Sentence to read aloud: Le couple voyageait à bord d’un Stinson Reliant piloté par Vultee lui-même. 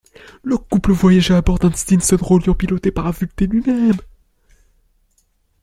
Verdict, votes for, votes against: rejected, 1, 2